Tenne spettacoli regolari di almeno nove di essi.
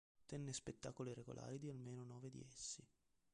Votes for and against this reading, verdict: 1, 3, rejected